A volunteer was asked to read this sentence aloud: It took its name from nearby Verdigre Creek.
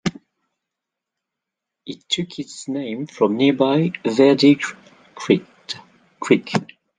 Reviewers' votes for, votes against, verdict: 1, 2, rejected